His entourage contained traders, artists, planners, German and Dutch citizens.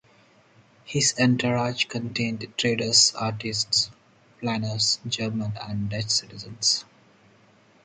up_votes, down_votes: 2, 0